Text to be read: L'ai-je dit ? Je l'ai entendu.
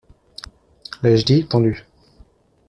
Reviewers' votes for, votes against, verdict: 1, 2, rejected